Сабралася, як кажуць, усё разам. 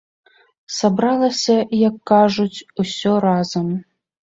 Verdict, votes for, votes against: accepted, 4, 0